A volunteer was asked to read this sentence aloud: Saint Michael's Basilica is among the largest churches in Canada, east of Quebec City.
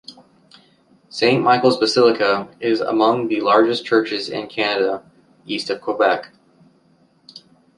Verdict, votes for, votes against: rejected, 0, 2